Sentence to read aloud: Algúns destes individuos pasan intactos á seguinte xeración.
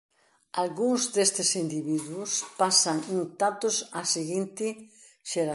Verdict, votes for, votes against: rejected, 0, 2